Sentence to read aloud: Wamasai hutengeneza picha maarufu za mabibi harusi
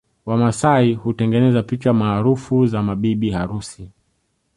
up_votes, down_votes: 1, 2